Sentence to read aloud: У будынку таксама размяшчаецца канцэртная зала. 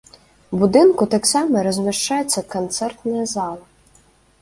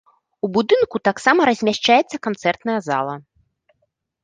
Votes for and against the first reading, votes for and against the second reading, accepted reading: 2, 0, 1, 2, first